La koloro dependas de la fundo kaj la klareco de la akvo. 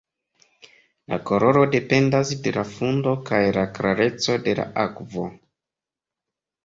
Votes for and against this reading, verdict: 2, 1, accepted